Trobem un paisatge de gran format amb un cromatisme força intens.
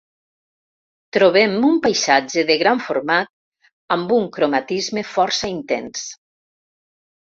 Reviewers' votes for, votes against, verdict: 2, 0, accepted